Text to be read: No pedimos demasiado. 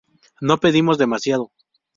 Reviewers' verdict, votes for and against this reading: accepted, 2, 0